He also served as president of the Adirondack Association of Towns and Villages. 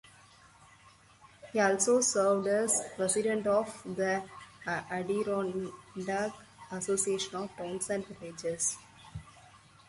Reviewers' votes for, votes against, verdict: 2, 0, accepted